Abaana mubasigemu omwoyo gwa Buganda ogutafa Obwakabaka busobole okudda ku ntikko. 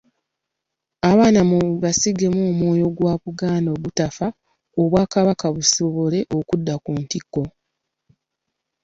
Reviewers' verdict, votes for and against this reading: accepted, 2, 0